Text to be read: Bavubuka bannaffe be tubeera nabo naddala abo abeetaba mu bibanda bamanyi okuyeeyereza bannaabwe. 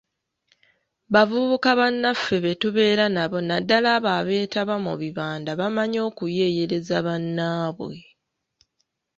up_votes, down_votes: 2, 0